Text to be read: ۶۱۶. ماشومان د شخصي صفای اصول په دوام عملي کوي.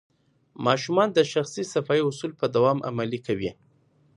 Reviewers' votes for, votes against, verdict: 0, 2, rejected